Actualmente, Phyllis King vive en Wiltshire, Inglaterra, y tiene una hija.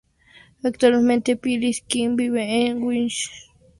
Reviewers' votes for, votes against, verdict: 0, 2, rejected